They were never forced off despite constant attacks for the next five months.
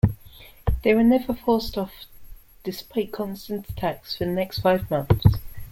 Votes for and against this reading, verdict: 2, 0, accepted